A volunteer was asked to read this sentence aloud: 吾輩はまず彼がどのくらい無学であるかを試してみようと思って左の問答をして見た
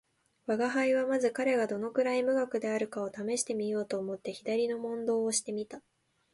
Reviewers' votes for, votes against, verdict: 2, 0, accepted